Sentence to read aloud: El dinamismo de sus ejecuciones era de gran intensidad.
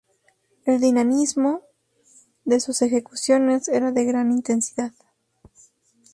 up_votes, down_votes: 4, 0